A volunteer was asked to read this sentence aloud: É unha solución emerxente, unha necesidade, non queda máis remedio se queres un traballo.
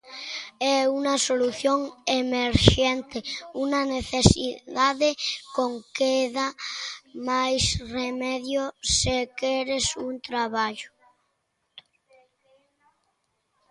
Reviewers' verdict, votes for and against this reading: rejected, 0, 2